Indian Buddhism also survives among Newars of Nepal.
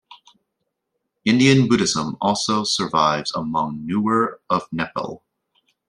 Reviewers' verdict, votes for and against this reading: rejected, 1, 2